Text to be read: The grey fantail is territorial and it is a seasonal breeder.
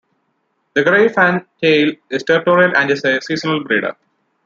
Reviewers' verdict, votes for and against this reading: accepted, 2, 0